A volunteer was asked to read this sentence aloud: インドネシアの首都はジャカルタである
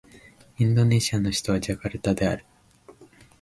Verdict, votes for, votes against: accepted, 2, 0